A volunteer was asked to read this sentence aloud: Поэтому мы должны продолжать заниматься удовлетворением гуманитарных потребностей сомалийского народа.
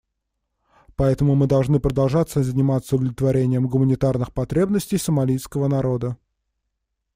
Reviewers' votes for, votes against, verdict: 1, 2, rejected